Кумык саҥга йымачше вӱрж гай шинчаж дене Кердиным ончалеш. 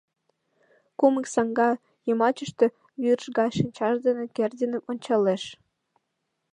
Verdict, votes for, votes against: rejected, 1, 2